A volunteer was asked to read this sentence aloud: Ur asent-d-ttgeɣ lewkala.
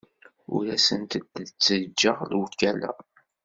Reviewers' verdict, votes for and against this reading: rejected, 1, 2